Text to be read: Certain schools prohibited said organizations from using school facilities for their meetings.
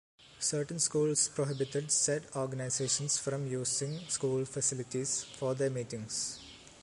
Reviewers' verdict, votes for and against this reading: accepted, 2, 0